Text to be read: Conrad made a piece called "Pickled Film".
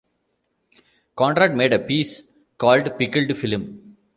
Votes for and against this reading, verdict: 2, 1, accepted